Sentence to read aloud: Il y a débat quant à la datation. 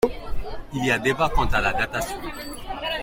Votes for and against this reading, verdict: 2, 0, accepted